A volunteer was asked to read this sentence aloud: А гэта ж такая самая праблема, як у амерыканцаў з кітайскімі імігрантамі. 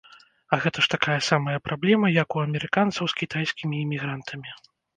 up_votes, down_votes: 2, 0